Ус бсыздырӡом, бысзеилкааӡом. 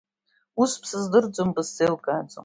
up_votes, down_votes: 2, 0